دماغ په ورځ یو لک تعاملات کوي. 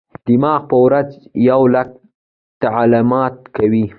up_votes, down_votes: 2, 0